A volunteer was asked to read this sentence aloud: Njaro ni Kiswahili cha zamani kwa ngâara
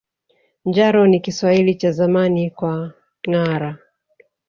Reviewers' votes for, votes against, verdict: 2, 0, accepted